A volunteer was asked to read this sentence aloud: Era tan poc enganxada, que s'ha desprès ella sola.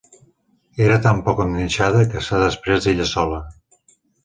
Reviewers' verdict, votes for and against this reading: accepted, 2, 0